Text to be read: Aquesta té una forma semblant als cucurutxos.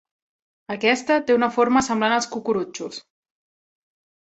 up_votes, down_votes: 3, 0